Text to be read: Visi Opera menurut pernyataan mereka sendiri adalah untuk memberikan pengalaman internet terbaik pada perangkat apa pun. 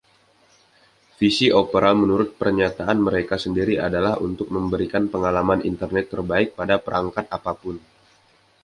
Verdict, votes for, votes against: accepted, 2, 0